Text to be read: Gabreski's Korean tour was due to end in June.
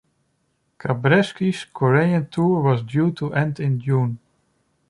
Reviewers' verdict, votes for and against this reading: rejected, 1, 2